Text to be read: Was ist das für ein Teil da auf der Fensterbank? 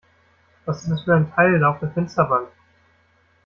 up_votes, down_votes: 1, 2